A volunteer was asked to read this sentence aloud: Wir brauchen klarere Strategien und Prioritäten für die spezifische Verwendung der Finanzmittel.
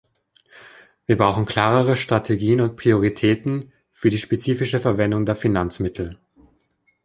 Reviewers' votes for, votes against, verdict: 2, 0, accepted